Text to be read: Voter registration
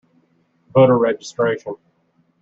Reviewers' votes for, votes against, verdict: 0, 2, rejected